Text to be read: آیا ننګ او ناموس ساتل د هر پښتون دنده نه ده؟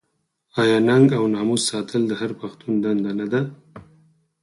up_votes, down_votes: 4, 2